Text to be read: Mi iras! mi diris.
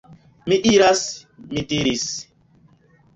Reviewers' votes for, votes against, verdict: 2, 0, accepted